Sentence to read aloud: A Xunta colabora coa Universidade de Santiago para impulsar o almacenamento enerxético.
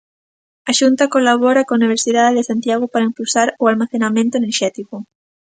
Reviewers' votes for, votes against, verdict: 2, 0, accepted